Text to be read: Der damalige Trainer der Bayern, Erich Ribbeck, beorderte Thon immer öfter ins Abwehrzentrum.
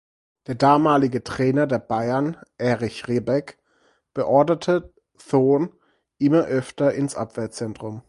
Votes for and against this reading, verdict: 0, 4, rejected